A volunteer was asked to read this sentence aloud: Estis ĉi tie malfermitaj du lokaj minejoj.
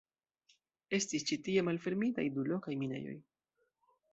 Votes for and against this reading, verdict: 1, 2, rejected